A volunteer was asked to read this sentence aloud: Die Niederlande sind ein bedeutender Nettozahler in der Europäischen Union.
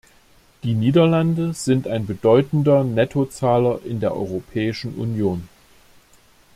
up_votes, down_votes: 2, 0